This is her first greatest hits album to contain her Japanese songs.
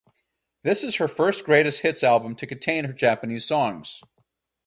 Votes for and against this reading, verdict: 0, 2, rejected